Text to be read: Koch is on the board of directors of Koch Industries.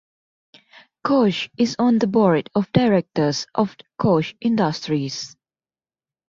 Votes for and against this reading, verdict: 2, 0, accepted